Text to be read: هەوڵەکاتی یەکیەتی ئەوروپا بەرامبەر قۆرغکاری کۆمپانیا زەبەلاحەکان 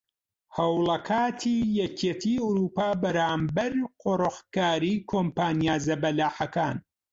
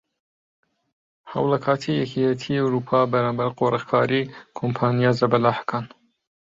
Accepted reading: second